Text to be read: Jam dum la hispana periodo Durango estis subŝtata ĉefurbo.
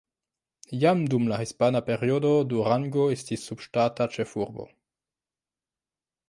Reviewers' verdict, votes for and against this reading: rejected, 0, 2